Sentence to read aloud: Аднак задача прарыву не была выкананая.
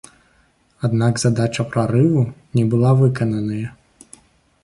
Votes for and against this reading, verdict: 0, 2, rejected